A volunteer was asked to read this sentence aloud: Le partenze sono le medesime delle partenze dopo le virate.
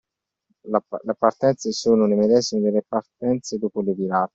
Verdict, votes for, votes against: rejected, 1, 2